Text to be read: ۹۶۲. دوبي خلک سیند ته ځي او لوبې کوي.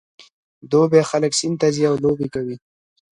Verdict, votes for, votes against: rejected, 0, 2